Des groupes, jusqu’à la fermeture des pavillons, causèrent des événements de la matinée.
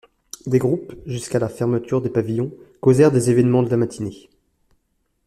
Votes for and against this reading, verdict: 2, 0, accepted